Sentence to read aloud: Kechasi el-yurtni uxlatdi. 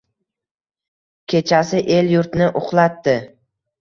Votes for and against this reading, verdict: 2, 0, accepted